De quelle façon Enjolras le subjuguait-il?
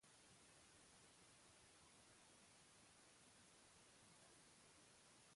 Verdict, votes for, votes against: rejected, 0, 2